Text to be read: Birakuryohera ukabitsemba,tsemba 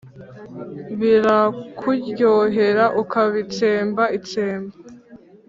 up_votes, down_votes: 2, 0